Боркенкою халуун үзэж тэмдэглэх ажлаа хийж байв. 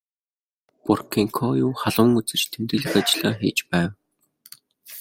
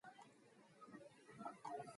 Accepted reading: first